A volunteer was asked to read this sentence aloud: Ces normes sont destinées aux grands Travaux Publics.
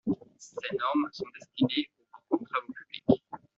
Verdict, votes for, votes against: rejected, 0, 2